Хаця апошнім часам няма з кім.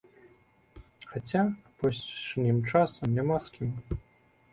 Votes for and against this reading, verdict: 2, 0, accepted